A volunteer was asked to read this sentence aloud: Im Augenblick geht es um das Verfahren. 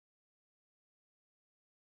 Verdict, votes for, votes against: rejected, 0, 2